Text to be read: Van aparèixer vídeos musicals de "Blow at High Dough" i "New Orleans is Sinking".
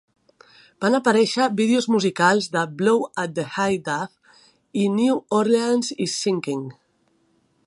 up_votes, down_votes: 2, 0